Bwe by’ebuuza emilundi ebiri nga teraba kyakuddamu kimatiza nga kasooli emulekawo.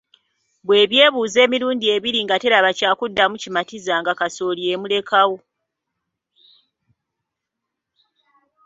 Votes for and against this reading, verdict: 2, 0, accepted